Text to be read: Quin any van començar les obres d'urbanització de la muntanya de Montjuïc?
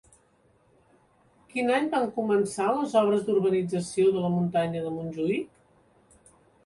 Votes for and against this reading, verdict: 3, 0, accepted